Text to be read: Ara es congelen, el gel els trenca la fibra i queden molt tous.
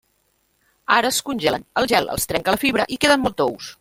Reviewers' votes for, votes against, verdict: 0, 3, rejected